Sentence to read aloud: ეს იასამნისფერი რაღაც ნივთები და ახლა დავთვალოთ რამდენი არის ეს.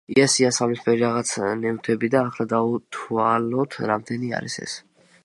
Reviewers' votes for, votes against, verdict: 2, 0, accepted